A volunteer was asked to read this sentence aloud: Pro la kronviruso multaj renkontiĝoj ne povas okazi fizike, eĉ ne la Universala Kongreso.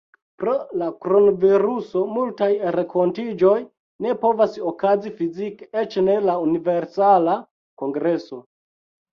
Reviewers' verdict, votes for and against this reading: accepted, 2, 1